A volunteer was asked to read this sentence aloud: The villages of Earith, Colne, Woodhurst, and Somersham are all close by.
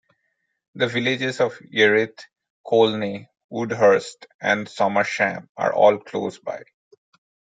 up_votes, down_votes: 0, 2